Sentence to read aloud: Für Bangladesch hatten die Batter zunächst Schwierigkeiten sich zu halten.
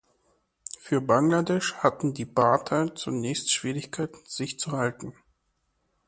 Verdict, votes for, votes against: accepted, 2, 1